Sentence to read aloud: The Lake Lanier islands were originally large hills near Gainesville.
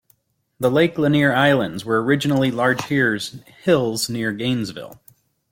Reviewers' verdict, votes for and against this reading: rejected, 0, 2